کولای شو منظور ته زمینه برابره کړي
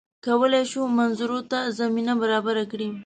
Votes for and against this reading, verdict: 1, 2, rejected